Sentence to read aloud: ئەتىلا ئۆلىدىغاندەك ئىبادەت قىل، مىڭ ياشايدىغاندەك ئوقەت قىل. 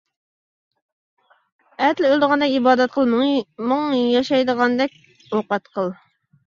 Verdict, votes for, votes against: rejected, 0, 2